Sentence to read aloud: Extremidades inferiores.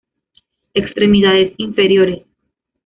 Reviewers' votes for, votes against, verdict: 2, 0, accepted